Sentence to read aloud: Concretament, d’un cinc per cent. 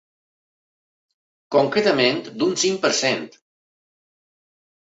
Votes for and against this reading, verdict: 2, 0, accepted